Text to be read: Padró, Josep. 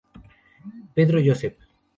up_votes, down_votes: 0, 2